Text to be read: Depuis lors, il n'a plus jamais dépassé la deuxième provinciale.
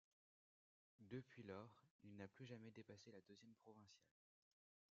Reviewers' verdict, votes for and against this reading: accepted, 2, 0